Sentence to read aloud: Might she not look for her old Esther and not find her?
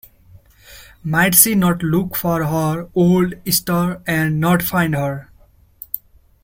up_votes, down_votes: 0, 2